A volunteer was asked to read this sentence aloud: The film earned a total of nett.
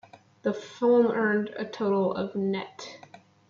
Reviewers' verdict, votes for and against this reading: rejected, 0, 2